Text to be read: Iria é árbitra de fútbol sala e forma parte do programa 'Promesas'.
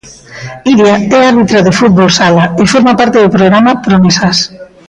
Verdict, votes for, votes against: accepted, 2, 0